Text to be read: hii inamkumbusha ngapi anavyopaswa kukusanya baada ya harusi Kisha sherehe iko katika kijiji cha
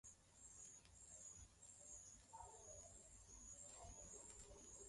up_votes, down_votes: 0, 2